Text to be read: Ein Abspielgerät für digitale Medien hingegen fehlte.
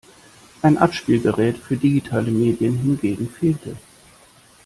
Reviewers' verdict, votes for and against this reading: accepted, 2, 0